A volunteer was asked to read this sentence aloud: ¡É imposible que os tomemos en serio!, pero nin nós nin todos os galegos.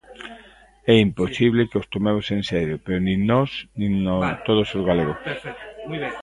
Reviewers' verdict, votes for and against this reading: rejected, 0, 2